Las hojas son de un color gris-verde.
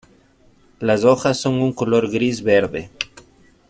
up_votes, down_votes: 0, 2